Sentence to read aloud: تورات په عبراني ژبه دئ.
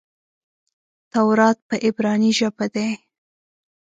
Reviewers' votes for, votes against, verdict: 1, 2, rejected